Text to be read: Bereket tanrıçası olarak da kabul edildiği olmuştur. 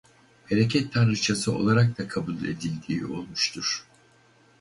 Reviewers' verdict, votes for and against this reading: rejected, 2, 2